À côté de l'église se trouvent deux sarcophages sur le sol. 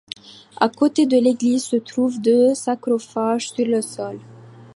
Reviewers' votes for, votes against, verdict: 1, 2, rejected